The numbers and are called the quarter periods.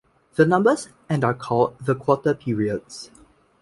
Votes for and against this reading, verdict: 1, 2, rejected